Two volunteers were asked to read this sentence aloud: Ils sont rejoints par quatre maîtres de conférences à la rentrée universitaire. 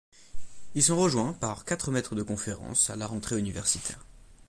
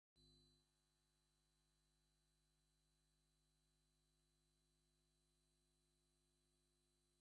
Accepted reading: first